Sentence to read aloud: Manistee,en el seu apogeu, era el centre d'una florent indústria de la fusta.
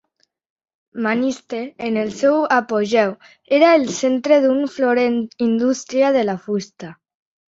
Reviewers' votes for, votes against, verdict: 1, 2, rejected